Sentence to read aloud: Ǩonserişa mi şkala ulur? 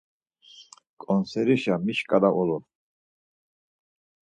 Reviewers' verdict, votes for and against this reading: accepted, 4, 0